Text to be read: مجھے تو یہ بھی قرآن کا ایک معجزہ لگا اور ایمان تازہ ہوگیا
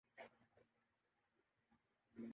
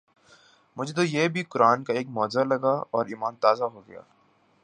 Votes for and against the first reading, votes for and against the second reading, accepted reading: 0, 3, 4, 0, second